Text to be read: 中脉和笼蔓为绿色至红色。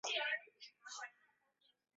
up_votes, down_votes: 0, 2